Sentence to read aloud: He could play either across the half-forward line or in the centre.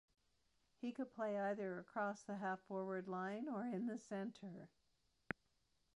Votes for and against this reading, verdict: 0, 2, rejected